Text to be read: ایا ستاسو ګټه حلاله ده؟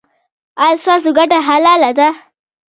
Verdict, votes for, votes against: rejected, 1, 2